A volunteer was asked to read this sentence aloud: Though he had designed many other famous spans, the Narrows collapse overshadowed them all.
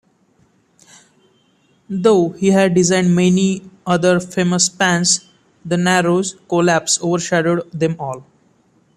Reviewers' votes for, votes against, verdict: 2, 0, accepted